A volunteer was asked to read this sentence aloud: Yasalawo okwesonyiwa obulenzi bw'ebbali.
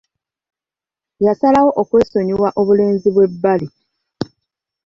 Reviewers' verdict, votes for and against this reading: accepted, 2, 0